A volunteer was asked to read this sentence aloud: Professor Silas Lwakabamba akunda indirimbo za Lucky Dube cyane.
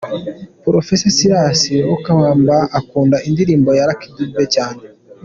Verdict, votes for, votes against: accepted, 2, 0